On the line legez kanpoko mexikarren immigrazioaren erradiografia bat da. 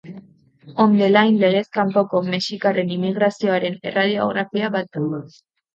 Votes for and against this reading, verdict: 2, 1, accepted